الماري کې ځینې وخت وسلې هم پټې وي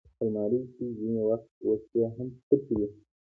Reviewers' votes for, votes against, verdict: 2, 0, accepted